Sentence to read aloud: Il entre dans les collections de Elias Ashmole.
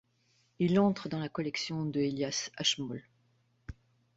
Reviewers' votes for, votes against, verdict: 0, 2, rejected